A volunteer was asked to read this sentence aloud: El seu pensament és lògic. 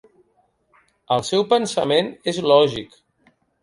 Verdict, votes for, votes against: accepted, 2, 0